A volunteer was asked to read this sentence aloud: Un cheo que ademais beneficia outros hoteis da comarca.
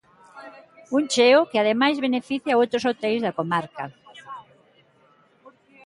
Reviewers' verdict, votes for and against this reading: accepted, 2, 0